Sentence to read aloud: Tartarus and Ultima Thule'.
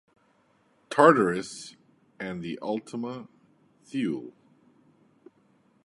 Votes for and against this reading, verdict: 1, 2, rejected